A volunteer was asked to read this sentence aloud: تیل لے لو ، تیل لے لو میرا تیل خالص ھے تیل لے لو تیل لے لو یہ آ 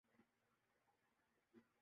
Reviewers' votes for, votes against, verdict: 0, 2, rejected